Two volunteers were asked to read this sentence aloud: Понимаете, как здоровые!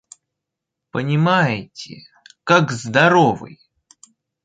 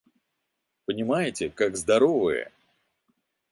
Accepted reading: second